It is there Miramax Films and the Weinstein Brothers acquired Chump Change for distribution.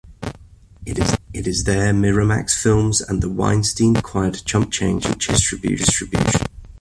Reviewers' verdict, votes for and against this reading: rejected, 0, 2